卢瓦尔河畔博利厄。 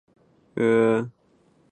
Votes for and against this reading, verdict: 4, 5, rejected